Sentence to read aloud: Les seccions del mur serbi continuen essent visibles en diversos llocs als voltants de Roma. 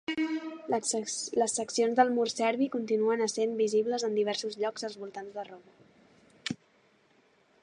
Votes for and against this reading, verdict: 1, 2, rejected